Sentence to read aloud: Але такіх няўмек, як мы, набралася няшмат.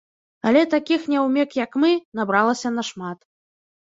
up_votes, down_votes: 1, 2